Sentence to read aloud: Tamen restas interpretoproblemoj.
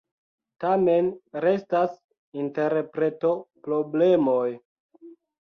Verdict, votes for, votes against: rejected, 1, 2